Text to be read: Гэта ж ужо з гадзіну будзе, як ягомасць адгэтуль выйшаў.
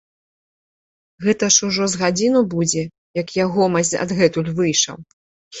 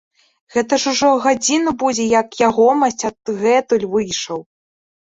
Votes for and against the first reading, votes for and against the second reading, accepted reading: 2, 0, 0, 2, first